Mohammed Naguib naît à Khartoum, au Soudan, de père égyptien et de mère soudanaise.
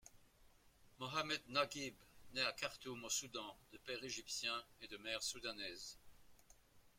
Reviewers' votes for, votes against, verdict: 2, 3, rejected